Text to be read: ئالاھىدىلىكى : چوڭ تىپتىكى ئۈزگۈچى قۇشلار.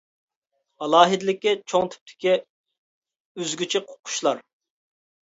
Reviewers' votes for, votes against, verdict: 0, 2, rejected